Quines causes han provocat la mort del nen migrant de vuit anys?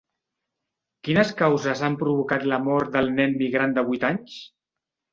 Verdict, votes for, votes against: accepted, 3, 0